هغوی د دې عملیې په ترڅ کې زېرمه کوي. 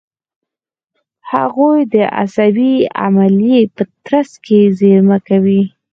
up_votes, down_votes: 4, 0